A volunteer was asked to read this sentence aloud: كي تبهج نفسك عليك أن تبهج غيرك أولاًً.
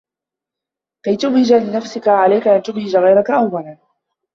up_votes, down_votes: 0, 2